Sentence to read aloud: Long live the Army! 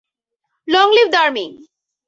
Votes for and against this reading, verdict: 2, 2, rejected